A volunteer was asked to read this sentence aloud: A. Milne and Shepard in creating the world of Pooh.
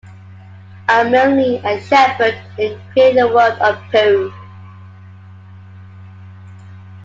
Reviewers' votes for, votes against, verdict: 2, 0, accepted